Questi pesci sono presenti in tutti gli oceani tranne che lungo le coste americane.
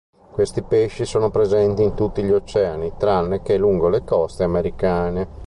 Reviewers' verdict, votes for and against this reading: accepted, 2, 0